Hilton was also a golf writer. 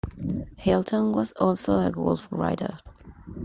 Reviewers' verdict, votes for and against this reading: accepted, 3, 0